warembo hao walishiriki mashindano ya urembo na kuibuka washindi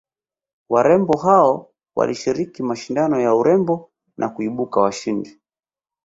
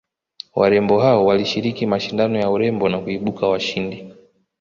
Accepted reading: second